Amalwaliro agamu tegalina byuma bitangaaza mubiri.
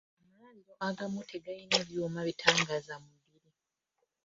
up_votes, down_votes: 0, 2